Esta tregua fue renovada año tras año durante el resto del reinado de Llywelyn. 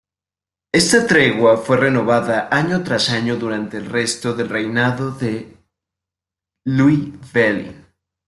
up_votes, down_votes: 1, 2